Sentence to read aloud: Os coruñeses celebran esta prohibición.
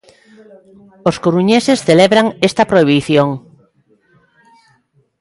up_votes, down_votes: 0, 2